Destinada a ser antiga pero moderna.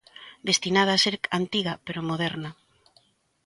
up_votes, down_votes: 0, 2